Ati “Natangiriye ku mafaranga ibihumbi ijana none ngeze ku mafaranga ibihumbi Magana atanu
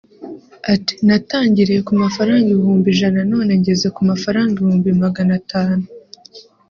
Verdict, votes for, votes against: rejected, 0, 2